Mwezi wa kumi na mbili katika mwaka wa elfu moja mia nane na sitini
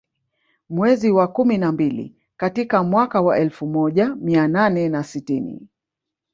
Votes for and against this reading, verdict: 1, 2, rejected